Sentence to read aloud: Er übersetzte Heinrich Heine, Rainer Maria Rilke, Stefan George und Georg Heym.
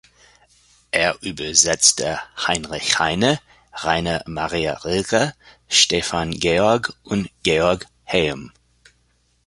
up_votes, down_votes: 1, 2